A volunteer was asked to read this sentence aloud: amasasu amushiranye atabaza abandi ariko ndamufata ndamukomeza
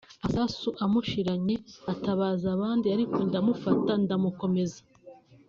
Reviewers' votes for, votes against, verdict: 4, 0, accepted